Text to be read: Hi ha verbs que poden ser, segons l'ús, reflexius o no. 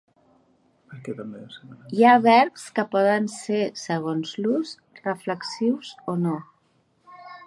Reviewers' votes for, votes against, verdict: 1, 2, rejected